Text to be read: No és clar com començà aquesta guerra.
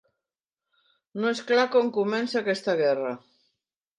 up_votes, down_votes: 0, 2